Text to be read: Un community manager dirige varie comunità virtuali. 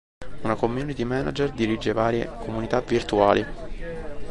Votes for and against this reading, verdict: 0, 3, rejected